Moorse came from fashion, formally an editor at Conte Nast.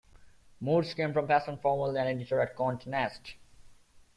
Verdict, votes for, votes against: rejected, 0, 2